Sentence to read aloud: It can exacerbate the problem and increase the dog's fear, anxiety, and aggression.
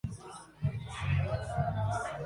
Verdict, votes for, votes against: rejected, 0, 2